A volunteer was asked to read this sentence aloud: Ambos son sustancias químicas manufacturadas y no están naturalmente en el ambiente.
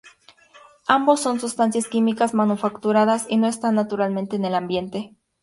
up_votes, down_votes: 0, 2